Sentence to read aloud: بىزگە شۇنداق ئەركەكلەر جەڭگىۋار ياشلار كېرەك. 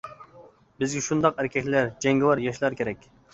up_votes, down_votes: 2, 0